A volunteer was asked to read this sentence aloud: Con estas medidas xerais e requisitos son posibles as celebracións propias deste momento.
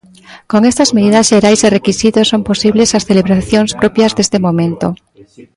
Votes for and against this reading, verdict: 0, 2, rejected